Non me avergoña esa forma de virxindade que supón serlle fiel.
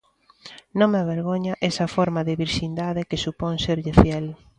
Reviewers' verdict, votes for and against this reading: accepted, 2, 0